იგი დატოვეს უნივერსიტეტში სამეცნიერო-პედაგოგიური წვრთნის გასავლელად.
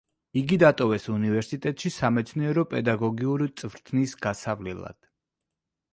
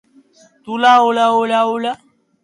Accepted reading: first